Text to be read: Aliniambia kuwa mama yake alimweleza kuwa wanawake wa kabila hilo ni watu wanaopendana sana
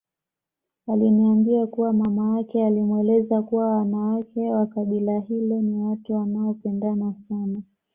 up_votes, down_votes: 2, 0